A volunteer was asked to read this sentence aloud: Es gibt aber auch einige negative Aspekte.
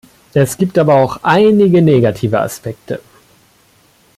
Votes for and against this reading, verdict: 1, 2, rejected